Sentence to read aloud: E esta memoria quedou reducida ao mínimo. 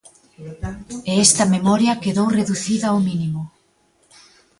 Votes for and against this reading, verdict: 1, 2, rejected